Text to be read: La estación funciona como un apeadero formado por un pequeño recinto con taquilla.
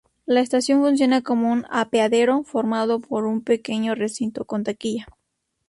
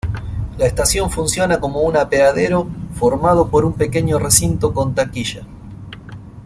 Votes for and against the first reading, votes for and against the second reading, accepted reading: 2, 0, 0, 2, first